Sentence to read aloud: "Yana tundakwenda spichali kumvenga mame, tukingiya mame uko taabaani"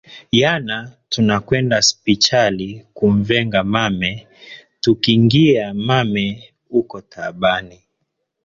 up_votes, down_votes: 0, 2